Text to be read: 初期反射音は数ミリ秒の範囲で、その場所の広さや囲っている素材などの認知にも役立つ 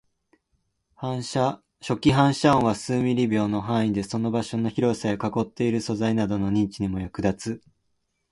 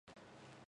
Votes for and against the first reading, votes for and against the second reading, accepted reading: 0, 3, 2, 0, second